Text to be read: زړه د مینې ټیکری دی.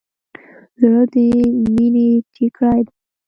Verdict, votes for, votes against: accepted, 2, 0